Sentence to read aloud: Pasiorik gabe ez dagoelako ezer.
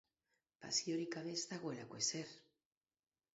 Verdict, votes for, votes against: accepted, 6, 0